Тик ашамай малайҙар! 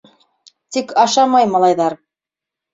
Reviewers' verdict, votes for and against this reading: accepted, 3, 0